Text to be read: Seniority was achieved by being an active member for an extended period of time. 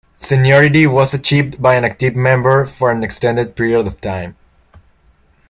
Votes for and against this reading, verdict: 2, 0, accepted